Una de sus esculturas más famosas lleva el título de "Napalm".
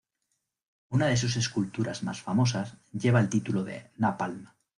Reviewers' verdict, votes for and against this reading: accepted, 2, 1